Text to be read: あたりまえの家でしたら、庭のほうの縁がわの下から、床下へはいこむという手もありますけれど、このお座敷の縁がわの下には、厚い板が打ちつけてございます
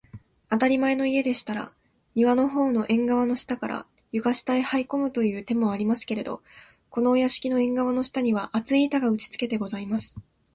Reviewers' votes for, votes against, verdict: 1, 2, rejected